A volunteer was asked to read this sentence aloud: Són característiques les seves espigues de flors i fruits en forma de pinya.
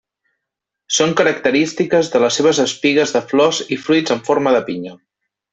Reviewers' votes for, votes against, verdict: 1, 2, rejected